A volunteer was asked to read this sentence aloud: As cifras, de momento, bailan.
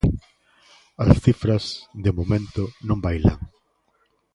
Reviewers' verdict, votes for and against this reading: rejected, 0, 2